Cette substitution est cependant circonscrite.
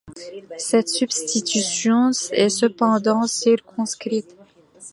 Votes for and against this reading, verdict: 2, 1, accepted